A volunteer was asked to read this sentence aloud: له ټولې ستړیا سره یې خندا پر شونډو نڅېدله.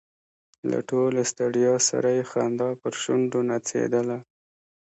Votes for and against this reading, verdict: 2, 0, accepted